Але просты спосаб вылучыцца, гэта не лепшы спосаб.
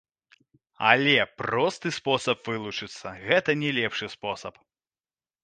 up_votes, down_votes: 1, 3